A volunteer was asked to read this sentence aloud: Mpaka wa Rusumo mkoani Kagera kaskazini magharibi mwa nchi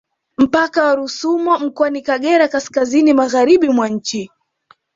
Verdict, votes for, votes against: accepted, 2, 0